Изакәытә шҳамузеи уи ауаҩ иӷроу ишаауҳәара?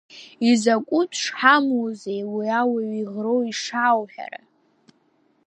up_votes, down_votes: 2, 0